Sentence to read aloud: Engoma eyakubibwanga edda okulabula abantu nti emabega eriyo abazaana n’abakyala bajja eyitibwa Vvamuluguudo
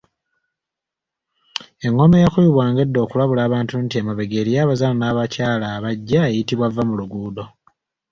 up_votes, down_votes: 2, 1